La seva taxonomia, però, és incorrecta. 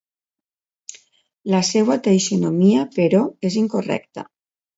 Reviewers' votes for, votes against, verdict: 1, 2, rejected